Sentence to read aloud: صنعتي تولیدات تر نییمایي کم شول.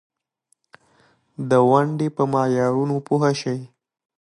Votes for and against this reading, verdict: 0, 2, rejected